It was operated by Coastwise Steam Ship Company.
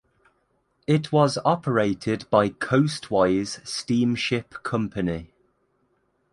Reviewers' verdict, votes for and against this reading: accepted, 2, 0